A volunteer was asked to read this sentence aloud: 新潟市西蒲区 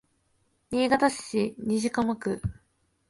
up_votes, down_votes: 0, 2